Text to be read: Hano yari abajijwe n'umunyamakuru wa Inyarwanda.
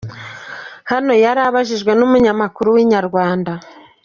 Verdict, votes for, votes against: rejected, 1, 2